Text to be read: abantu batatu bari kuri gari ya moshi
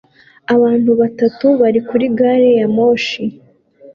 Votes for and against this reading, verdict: 2, 0, accepted